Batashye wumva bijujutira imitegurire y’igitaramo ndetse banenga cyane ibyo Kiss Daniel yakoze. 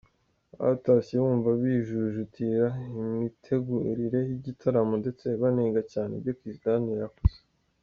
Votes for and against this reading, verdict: 3, 0, accepted